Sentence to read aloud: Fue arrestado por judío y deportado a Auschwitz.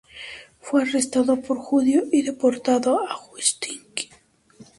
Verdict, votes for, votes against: rejected, 2, 2